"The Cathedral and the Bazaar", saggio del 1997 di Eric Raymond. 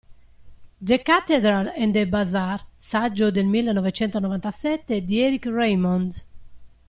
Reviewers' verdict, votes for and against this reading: rejected, 0, 2